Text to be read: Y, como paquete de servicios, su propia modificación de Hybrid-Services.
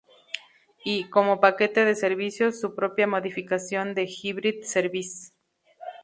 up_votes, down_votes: 0, 2